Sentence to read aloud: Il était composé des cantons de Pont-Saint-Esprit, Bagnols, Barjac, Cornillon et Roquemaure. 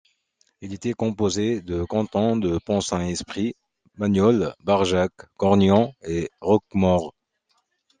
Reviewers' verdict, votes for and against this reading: rejected, 0, 2